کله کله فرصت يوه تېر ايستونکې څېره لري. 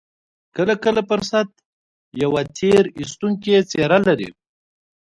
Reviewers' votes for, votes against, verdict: 0, 2, rejected